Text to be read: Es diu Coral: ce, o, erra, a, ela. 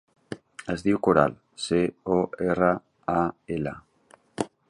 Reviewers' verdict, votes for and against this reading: accepted, 2, 0